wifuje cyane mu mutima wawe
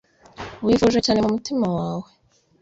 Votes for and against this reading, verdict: 2, 0, accepted